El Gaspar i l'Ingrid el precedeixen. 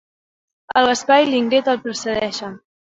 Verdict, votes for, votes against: rejected, 0, 2